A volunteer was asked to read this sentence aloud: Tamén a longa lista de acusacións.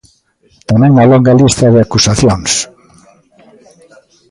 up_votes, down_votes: 1, 2